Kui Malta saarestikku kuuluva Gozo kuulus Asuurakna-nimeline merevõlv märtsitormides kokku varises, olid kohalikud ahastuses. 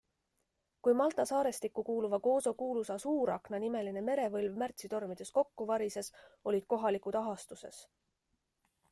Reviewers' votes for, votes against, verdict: 2, 0, accepted